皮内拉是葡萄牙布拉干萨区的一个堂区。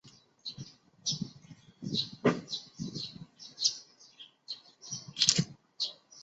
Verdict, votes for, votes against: rejected, 0, 2